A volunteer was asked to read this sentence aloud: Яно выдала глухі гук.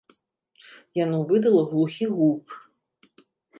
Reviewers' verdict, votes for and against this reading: accepted, 2, 0